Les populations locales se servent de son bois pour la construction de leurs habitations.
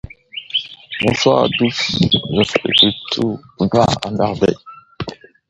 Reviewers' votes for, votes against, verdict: 0, 2, rejected